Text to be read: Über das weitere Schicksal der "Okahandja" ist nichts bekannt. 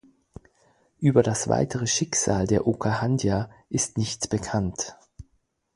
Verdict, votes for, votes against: accepted, 4, 0